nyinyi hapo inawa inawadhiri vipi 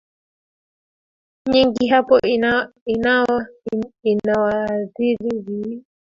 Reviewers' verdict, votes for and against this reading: accepted, 2, 1